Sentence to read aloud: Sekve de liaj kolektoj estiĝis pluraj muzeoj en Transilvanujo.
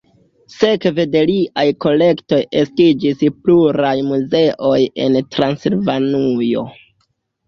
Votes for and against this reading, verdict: 0, 2, rejected